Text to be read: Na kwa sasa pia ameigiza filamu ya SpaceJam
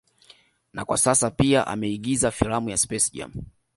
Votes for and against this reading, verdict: 2, 0, accepted